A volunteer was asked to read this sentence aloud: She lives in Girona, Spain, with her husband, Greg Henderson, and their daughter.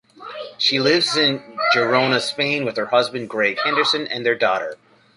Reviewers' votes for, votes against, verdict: 2, 1, accepted